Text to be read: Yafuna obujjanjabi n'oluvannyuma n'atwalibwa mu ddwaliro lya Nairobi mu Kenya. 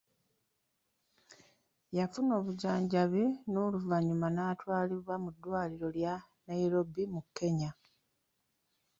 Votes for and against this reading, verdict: 3, 0, accepted